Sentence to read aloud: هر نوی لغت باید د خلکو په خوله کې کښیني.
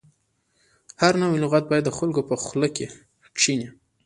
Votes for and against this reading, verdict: 2, 0, accepted